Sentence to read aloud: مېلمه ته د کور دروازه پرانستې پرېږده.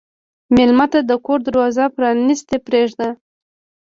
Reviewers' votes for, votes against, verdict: 1, 2, rejected